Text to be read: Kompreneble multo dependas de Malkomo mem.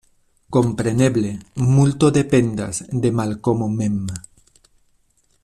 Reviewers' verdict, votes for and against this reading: accepted, 2, 0